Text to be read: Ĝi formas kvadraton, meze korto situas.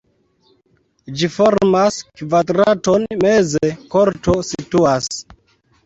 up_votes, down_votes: 2, 1